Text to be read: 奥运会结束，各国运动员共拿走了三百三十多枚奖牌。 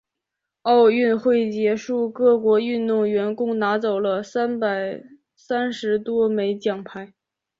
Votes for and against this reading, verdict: 4, 0, accepted